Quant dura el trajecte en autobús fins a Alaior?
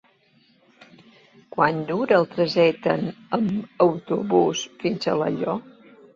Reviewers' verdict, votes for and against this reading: accepted, 2, 1